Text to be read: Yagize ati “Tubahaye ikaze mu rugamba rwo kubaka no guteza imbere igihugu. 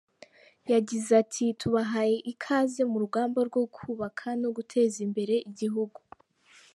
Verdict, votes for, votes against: rejected, 0, 2